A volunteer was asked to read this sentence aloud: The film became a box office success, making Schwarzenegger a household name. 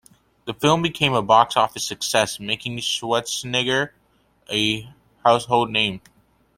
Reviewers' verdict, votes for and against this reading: accepted, 2, 1